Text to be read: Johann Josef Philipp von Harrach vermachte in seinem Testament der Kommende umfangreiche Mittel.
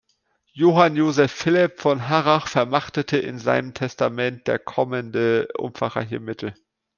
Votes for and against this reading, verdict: 1, 2, rejected